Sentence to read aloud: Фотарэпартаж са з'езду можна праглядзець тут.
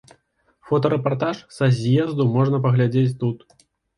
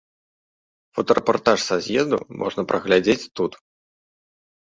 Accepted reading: second